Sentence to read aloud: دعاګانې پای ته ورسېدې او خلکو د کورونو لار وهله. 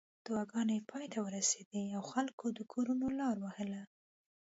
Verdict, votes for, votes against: accepted, 2, 0